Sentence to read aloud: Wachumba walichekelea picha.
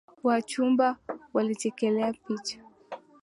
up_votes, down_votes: 2, 0